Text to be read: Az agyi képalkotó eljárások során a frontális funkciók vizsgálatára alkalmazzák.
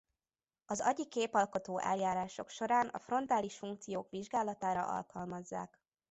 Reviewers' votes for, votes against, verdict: 2, 0, accepted